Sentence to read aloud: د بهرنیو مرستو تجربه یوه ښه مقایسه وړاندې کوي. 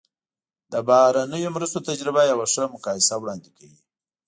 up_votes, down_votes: 2, 0